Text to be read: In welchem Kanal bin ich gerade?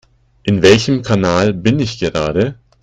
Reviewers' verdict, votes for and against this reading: accepted, 2, 0